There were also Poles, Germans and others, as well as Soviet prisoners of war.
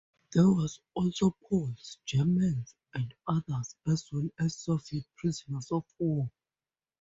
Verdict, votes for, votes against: rejected, 0, 4